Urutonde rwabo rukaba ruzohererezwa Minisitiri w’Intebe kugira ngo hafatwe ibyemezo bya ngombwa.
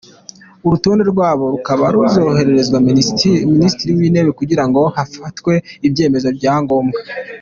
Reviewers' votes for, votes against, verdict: 1, 2, rejected